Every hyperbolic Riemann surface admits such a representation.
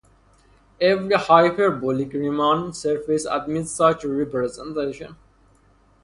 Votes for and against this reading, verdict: 2, 0, accepted